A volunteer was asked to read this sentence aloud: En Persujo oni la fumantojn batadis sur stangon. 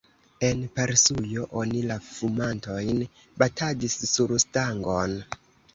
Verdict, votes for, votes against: accepted, 2, 0